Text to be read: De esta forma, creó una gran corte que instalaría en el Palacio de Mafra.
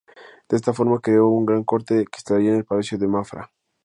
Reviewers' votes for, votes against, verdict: 2, 0, accepted